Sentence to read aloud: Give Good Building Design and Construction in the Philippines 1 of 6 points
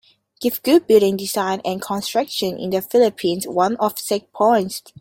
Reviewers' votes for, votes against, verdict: 0, 2, rejected